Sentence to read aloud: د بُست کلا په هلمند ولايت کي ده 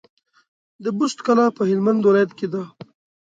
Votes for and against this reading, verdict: 2, 1, accepted